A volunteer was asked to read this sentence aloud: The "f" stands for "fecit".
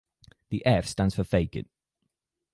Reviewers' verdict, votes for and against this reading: accepted, 4, 2